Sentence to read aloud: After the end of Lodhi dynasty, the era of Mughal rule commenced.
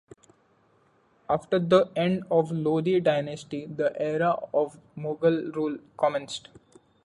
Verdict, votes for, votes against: accepted, 2, 1